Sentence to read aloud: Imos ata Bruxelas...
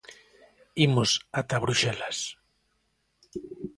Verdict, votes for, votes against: accepted, 2, 0